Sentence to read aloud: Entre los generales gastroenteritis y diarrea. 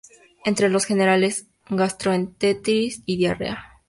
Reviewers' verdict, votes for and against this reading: accepted, 2, 0